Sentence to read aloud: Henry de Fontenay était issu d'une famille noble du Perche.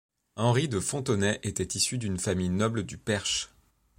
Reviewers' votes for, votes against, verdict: 2, 0, accepted